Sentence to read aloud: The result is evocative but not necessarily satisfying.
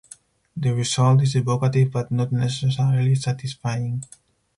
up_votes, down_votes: 4, 0